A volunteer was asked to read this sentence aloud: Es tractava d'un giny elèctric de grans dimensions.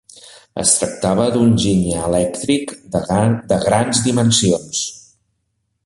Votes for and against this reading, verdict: 1, 2, rejected